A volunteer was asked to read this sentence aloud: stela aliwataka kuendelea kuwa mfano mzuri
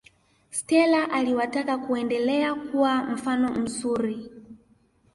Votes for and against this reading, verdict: 2, 0, accepted